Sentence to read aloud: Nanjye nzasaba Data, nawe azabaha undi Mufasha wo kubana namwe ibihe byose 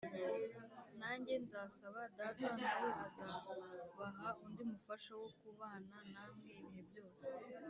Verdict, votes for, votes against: accepted, 2, 0